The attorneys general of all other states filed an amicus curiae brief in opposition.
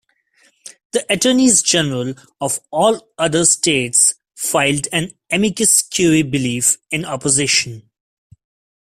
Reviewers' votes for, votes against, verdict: 1, 2, rejected